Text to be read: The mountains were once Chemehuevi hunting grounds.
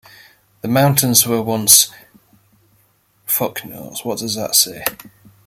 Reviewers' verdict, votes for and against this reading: rejected, 1, 2